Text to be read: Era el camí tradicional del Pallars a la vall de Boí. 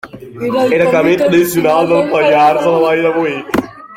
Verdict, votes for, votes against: accepted, 3, 1